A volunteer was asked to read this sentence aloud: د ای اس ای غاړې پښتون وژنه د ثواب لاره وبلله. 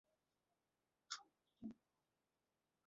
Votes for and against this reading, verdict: 0, 2, rejected